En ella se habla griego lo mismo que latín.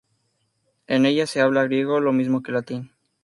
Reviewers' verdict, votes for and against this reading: accepted, 4, 0